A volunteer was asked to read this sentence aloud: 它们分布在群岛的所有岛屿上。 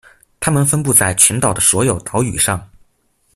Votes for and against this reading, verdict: 2, 0, accepted